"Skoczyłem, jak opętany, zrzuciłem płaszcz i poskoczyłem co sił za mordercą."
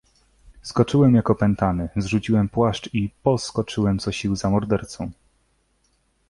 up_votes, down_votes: 2, 0